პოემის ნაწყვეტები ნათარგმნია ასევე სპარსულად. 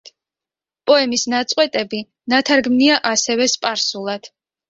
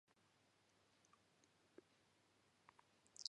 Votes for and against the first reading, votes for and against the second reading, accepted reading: 2, 0, 0, 2, first